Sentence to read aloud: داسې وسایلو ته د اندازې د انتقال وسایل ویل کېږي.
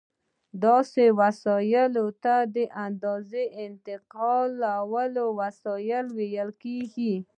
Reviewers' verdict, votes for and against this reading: rejected, 0, 2